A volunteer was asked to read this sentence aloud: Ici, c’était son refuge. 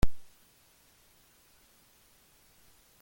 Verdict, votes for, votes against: rejected, 0, 2